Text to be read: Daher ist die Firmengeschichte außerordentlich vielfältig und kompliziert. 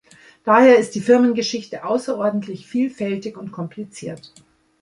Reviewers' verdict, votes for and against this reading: accepted, 2, 0